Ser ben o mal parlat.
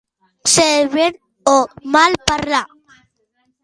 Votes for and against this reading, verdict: 1, 2, rejected